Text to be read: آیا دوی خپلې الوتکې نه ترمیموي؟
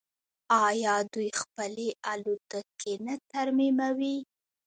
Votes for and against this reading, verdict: 0, 2, rejected